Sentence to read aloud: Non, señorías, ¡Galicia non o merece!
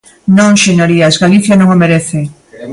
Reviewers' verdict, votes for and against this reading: accepted, 3, 0